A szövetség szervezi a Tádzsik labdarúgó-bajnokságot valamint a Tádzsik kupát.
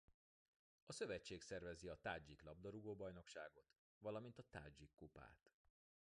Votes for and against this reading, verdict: 1, 2, rejected